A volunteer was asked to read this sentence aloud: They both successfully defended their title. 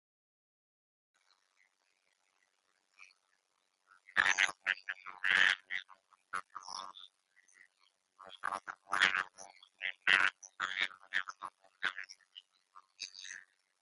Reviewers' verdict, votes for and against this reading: rejected, 0, 2